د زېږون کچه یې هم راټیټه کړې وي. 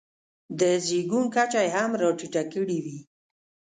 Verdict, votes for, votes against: accepted, 2, 0